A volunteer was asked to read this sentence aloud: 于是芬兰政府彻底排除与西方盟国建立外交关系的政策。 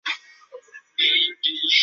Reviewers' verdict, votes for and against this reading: rejected, 0, 2